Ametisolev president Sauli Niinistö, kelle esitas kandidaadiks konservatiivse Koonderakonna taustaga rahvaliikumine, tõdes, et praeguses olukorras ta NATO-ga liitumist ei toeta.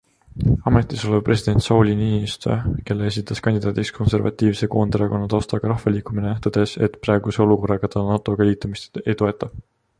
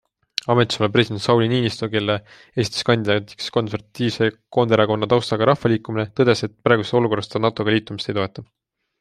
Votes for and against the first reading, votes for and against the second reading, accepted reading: 1, 3, 2, 0, second